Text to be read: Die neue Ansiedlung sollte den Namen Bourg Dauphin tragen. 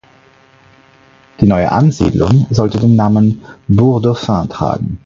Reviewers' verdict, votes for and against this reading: accepted, 4, 2